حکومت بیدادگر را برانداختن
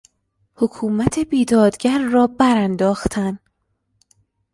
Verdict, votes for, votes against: rejected, 0, 2